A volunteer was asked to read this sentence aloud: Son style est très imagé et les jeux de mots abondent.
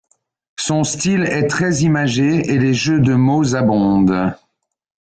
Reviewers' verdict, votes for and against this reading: accepted, 2, 0